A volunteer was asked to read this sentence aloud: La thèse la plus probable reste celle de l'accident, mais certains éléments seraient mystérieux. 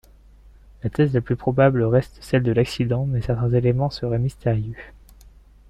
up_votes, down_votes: 0, 2